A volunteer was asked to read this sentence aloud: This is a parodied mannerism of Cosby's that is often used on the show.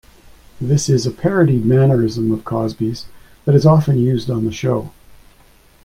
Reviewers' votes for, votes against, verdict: 2, 0, accepted